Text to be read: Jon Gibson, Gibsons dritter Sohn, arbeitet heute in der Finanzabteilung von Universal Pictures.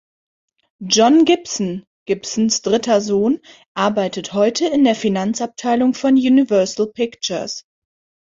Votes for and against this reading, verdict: 3, 0, accepted